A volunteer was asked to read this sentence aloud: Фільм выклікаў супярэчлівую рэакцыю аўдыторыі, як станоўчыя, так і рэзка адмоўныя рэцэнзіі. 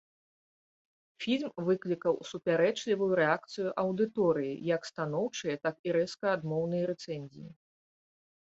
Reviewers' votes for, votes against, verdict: 2, 0, accepted